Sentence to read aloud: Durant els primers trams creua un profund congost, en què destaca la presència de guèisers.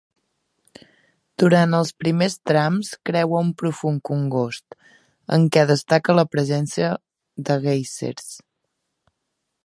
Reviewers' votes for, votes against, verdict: 2, 0, accepted